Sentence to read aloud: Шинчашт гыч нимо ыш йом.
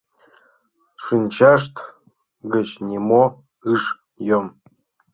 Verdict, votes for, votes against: accepted, 2, 0